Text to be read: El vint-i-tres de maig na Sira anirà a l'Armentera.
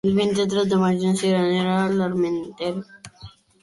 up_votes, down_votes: 0, 3